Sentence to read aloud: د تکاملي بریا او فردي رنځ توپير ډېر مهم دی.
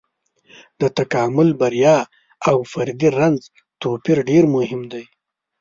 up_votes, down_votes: 1, 2